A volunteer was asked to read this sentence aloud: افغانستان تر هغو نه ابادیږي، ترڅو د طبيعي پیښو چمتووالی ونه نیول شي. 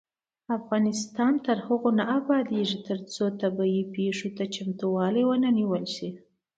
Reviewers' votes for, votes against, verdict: 2, 0, accepted